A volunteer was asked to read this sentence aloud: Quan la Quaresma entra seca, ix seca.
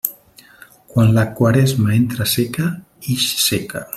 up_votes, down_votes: 2, 0